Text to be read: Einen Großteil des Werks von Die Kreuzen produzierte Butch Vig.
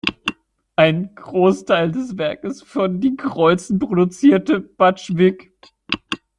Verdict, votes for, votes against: rejected, 0, 2